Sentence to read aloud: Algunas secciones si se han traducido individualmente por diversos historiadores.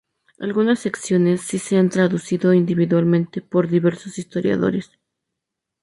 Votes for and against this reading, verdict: 2, 0, accepted